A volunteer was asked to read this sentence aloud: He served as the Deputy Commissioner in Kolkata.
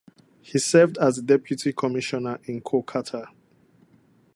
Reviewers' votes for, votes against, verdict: 0, 4, rejected